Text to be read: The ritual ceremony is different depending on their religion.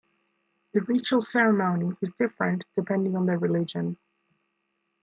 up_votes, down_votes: 3, 0